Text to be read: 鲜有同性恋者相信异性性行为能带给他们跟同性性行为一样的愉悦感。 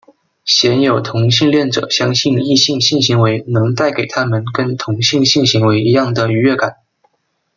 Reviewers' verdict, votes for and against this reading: accepted, 2, 1